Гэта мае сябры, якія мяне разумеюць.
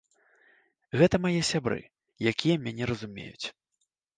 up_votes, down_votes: 2, 0